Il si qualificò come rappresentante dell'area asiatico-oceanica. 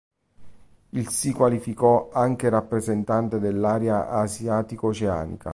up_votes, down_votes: 0, 2